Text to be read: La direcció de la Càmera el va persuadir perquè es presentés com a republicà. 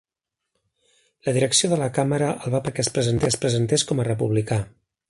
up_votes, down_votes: 0, 2